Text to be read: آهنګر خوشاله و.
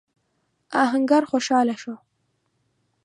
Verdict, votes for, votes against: accepted, 2, 0